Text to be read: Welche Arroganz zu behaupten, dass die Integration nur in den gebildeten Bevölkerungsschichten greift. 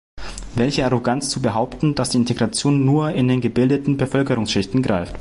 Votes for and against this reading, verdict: 2, 0, accepted